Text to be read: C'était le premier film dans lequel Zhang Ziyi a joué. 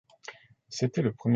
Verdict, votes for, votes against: rejected, 0, 2